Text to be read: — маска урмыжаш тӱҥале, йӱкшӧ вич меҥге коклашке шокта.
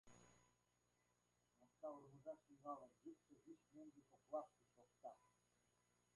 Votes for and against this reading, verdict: 0, 2, rejected